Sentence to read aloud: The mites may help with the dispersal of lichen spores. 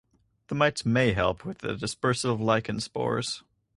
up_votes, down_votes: 2, 4